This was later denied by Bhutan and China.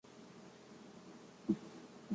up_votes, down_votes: 0, 2